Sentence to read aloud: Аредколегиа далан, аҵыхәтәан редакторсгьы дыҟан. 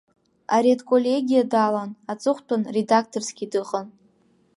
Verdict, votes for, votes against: accepted, 2, 0